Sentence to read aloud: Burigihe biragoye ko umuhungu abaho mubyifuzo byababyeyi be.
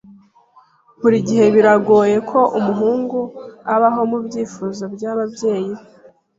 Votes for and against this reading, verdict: 2, 0, accepted